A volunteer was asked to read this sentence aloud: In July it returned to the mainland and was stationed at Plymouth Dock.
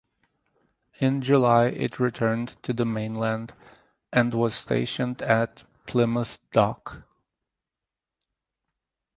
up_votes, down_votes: 4, 0